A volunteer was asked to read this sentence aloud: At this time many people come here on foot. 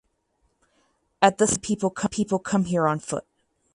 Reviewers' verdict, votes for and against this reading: rejected, 0, 4